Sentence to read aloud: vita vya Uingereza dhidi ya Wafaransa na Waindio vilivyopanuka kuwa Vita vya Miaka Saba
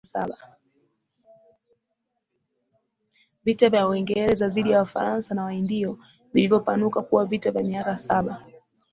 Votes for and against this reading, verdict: 1, 3, rejected